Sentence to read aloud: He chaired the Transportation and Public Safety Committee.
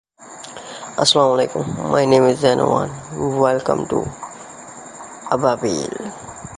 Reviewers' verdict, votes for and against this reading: rejected, 0, 2